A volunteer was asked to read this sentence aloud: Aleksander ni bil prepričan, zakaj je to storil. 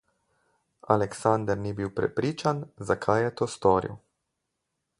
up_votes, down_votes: 4, 0